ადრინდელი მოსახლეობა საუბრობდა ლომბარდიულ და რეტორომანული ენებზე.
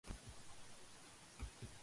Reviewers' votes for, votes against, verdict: 1, 2, rejected